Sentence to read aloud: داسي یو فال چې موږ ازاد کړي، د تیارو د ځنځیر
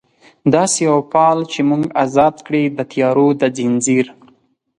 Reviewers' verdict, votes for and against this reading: accepted, 4, 0